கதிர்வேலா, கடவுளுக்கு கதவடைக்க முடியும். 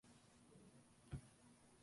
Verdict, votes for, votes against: rejected, 0, 2